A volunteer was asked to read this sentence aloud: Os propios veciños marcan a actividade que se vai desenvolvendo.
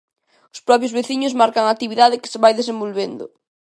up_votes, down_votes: 2, 0